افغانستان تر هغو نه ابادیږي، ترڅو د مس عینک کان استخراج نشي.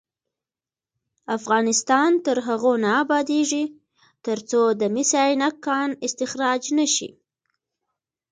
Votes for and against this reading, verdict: 2, 0, accepted